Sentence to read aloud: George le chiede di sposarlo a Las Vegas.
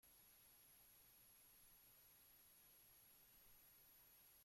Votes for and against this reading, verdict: 0, 2, rejected